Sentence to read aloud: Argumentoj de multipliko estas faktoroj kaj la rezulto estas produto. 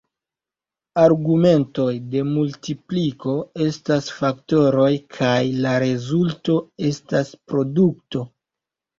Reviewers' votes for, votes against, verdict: 1, 2, rejected